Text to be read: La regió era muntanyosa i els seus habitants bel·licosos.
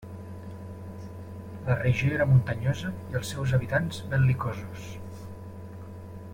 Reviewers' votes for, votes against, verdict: 1, 2, rejected